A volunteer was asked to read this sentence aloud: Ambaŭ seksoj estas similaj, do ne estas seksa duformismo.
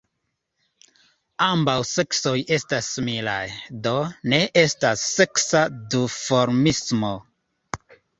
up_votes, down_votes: 2, 1